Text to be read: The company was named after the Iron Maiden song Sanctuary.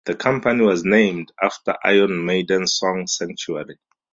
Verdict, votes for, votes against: rejected, 0, 4